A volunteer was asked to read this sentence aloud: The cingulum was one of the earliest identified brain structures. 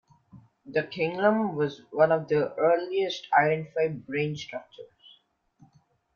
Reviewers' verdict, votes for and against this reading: rejected, 0, 2